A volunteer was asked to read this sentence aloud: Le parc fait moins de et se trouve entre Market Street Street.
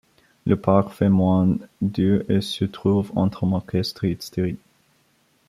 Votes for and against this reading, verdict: 2, 1, accepted